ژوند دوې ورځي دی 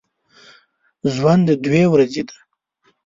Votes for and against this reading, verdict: 1, 2, rejected